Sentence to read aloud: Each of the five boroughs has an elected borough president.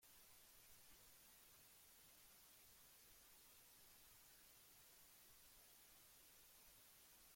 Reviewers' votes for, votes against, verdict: 0, 2, rejected